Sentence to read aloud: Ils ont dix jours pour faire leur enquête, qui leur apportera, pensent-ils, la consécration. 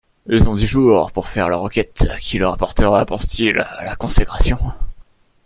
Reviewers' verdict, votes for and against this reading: accepted, 2, 0